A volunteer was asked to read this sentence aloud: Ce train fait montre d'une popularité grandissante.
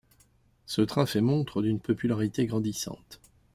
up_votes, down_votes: 2, 0